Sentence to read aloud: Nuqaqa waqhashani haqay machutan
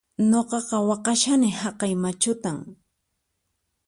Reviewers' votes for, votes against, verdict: 4, 0, accepted